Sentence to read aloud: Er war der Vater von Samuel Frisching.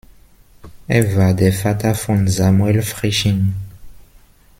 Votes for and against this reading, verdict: 1, 2, rejected